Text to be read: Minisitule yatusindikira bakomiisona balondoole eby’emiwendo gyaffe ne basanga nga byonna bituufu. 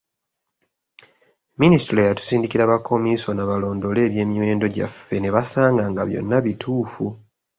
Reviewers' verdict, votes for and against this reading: accepted, 2, 0